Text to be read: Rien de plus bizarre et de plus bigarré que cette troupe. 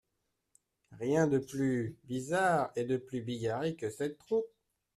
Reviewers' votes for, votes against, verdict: 1, 2, rejected